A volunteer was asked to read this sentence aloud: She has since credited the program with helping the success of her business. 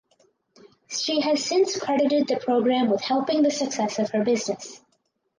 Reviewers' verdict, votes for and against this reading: accepted, 4, 0